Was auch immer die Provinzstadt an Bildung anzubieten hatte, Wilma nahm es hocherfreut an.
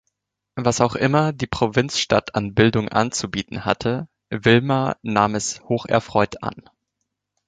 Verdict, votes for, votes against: accepted, 2, 0